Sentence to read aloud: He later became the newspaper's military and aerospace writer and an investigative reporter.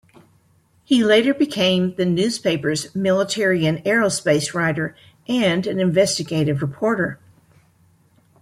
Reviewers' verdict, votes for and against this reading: accepted, 2, 0